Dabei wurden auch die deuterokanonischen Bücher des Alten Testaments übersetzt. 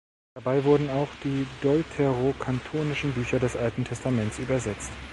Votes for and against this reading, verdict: 2, 3, rejected